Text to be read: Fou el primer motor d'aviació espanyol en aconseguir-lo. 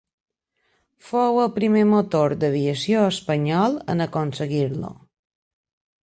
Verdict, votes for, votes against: accepted, 2, 1